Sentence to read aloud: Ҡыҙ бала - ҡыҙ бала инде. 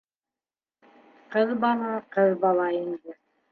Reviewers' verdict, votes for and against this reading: accepted, 2, 0